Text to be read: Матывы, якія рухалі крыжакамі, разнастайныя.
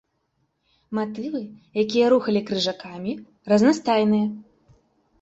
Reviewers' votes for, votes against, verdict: 2, 0, accepted